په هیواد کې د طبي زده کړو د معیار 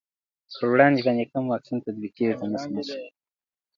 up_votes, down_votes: 0, 2